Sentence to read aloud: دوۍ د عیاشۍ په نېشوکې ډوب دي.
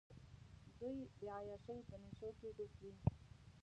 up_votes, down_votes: 1, 2